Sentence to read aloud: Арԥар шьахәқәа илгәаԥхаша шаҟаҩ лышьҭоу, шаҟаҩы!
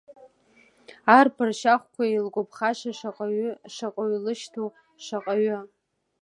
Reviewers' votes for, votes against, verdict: 1, 2, rejected